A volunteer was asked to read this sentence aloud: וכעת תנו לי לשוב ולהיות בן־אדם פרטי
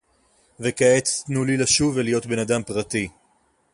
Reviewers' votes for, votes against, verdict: 4, 0, accepted